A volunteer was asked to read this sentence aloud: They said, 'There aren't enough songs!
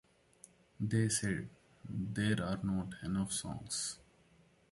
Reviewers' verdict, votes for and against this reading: rejected, 1, 2